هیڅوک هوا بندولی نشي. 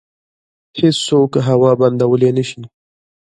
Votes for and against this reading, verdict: 0, 2, rejected